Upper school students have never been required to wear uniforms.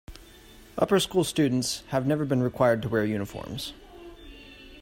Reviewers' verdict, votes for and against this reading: accepted, 2, 0